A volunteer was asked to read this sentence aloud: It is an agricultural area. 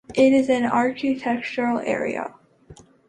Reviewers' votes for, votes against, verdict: 1, 2, rejected